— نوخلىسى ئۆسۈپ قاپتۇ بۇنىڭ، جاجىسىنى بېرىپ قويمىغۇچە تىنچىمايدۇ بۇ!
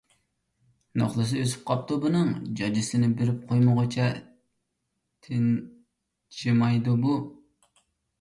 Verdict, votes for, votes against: rejected, 1, 2